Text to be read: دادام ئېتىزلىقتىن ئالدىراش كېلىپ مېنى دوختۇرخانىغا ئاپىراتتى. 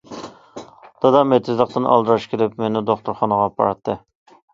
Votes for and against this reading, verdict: 2, 0, accepted